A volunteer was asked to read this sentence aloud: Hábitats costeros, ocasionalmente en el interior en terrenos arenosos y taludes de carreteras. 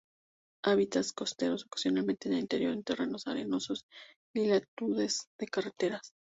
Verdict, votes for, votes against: rejected, 2, 4